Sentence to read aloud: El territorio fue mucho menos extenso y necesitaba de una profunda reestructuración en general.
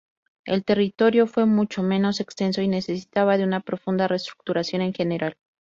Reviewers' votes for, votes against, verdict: 2, 0, accepted